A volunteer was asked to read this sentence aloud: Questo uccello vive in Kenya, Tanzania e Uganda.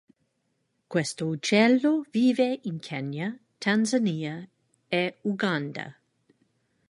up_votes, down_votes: 2, 0